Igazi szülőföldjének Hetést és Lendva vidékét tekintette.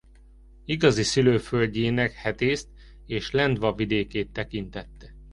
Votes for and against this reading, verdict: 0, 2, rejected